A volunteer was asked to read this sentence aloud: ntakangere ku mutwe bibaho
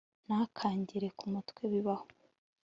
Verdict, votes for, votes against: accepted, 2, 0